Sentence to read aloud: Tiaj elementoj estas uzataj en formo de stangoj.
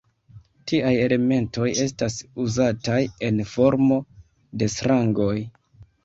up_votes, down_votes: 0, 2